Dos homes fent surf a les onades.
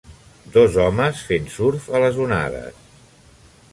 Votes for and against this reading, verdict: 2, 0, accepted